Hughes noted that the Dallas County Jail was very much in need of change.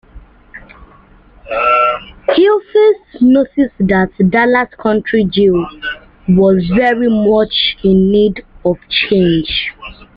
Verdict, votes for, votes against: rejected, 0, 2